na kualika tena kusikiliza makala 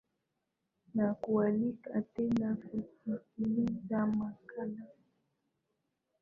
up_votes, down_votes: 2, 1